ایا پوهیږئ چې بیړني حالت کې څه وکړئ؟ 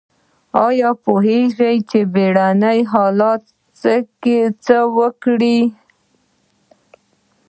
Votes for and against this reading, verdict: 0, 2, rejected